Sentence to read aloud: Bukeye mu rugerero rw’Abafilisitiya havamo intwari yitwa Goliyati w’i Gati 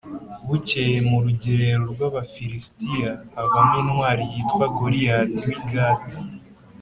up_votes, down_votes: 2, 0